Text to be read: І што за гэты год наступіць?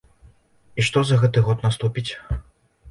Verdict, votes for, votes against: accepted, 2, 0